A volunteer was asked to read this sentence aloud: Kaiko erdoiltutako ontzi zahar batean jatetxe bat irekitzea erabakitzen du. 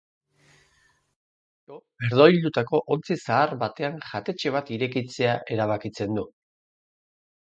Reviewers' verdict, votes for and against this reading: rejected, 0, 4